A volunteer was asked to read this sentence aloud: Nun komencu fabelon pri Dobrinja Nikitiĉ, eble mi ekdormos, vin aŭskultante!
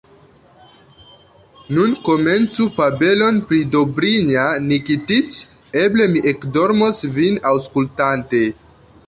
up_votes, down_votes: 2, 0